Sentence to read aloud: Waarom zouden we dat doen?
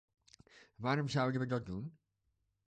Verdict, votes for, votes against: accepted, 2, 0